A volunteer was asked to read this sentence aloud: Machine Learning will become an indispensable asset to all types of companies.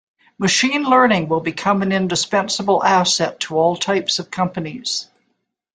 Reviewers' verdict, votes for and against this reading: accepted, 2, 0